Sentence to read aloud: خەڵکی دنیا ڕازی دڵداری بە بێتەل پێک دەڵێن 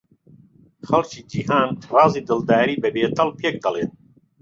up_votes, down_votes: 0, 3